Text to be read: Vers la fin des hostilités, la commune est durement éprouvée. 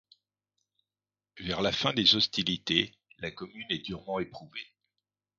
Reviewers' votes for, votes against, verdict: 2, 0, accepted